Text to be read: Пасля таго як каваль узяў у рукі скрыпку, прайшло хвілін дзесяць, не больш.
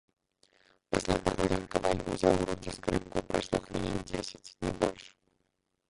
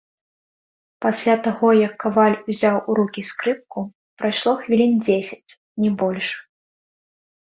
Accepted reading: second